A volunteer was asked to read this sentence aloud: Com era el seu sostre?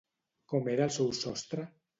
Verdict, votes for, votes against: accepted, 2, 0